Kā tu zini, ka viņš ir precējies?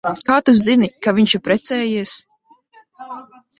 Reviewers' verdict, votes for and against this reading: rejected, 0, 2